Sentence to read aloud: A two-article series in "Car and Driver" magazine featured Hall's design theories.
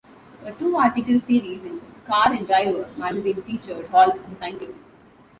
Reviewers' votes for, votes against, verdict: 0, 2, rejected